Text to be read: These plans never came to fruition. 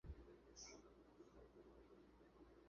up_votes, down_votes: 0, 2